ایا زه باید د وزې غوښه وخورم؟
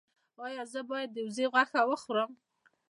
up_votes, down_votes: 2, 0